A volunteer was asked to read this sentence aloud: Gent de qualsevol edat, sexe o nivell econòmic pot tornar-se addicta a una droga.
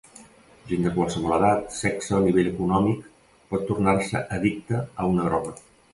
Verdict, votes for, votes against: accepted, 2, 0